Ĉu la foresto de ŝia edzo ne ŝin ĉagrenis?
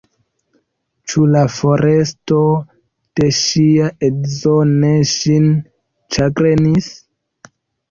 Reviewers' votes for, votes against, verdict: 0, 2, rejected